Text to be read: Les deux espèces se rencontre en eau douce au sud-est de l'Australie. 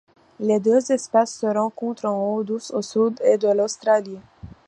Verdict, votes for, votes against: accepted, 2, 1